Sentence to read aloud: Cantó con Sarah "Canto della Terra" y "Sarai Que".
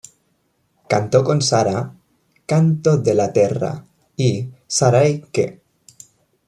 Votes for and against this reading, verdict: 1, 2, rejected